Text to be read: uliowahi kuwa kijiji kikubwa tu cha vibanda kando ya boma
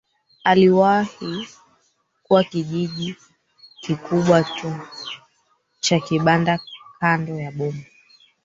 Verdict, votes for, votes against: rejected, 0, 3